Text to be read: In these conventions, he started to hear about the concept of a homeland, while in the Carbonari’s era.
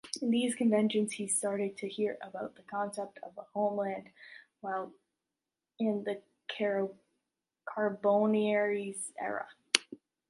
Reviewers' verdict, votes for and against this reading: rejected, 0, 2